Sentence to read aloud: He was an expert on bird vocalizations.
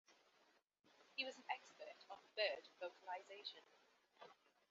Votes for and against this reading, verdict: 1, 2, rejected